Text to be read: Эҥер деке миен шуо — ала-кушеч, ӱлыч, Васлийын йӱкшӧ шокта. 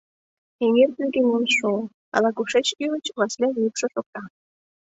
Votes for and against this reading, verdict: 2, 0, accepted